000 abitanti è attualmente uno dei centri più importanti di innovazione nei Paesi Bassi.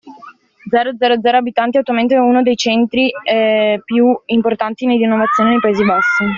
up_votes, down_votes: 0, 2